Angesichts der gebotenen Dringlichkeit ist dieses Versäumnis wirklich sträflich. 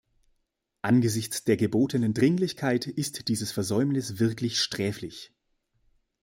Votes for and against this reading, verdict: 0, 2, rejected